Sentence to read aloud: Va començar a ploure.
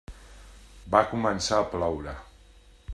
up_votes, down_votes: 3, 0